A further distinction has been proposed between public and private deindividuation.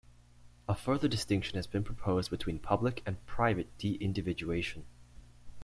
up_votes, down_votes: 2, 0